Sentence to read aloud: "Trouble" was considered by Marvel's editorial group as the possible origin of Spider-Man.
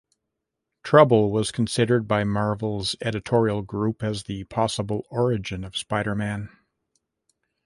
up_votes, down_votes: 2, 0